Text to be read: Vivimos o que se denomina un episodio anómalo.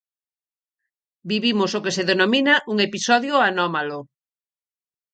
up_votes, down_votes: 4, 0